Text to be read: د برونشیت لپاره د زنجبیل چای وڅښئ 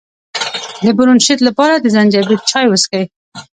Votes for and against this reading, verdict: 1, 2, rejected